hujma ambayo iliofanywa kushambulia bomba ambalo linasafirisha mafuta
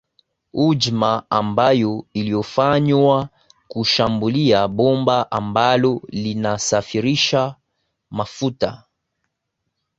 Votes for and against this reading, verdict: 3, 0, accepted